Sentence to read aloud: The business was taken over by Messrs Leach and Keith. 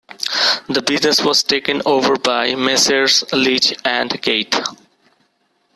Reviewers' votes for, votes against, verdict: 1, 2, rejected